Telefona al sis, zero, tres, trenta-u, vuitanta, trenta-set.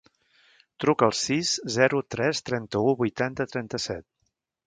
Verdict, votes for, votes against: rejected, 0, 2